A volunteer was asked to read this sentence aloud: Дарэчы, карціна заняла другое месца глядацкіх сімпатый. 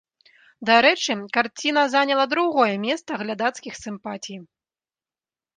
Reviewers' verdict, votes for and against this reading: rejected, 1, 2